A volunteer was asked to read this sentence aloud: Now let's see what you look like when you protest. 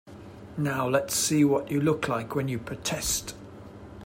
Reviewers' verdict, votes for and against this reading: accepted, 2, 0